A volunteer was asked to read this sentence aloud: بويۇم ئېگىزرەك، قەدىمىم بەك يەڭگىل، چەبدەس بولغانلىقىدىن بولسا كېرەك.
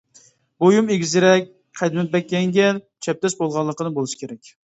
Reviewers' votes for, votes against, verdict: 1, 2, rejected